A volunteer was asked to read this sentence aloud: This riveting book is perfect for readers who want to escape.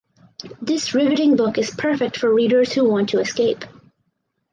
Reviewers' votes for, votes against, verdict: 4, 0, accepted